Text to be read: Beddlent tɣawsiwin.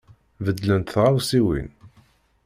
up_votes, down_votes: 2, 0